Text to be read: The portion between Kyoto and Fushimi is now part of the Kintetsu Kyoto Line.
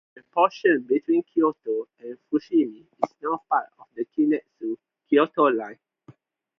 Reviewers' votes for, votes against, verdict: 2, 2, rejected